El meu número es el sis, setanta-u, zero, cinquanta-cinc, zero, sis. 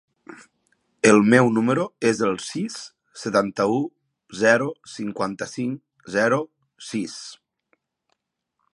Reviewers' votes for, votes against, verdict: 3, 0, accepted